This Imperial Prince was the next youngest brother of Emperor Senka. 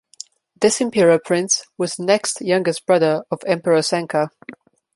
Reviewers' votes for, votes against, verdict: 1, 2, rejected